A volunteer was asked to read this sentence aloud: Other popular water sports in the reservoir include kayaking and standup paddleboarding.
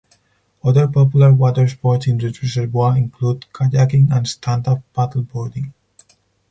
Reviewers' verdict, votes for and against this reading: rejected, 2, 4